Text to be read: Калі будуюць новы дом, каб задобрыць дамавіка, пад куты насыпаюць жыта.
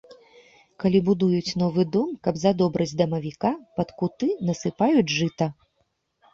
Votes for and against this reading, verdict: 2, 0, accepted